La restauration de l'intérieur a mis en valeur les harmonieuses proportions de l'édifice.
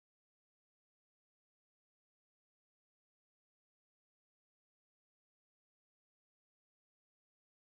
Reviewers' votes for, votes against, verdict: 1, 2, rejected